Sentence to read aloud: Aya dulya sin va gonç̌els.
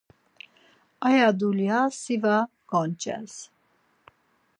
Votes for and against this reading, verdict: 2, 4, rejected